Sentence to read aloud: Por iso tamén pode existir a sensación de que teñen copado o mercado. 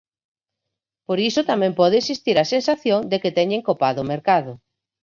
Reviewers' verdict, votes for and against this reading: rejected, 2, 4